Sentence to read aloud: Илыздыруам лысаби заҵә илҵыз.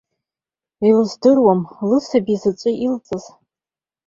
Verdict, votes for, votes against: accepted, 2, 0